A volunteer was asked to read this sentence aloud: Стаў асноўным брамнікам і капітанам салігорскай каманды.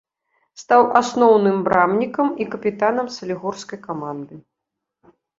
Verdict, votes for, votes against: accepted, 2, 0